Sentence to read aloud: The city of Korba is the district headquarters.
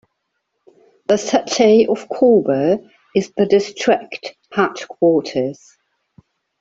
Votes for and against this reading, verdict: 0, 2, rejected